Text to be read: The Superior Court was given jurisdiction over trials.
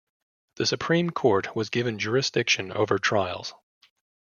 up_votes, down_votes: 2, 0